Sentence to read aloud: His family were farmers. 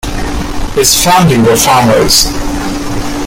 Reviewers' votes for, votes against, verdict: 2, 0, accepted